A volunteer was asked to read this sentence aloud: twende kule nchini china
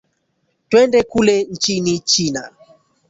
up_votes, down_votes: 1, 2